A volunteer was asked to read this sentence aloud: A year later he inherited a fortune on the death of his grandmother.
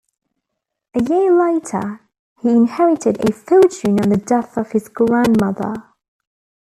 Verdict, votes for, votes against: accepted, 2, 1